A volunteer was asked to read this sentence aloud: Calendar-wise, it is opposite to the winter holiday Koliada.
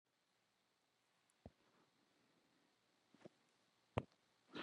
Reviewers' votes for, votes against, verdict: 0, 2, rejected